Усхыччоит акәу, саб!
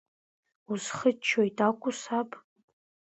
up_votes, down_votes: 2, 0